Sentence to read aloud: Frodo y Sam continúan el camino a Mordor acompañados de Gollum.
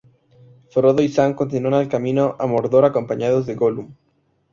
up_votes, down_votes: 2, 0